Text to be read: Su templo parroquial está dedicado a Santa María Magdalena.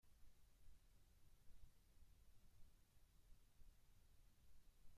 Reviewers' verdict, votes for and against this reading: rejected, 0, 2